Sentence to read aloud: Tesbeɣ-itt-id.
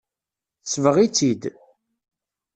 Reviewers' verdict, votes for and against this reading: accepted, 2, 0